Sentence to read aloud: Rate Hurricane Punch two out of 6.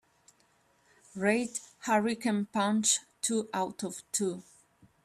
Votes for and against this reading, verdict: 0, 2, rejected